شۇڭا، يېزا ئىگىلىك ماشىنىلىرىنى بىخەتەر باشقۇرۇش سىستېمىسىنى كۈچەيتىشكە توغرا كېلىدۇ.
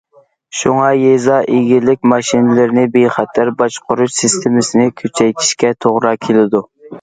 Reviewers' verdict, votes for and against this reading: accepted, 2, 0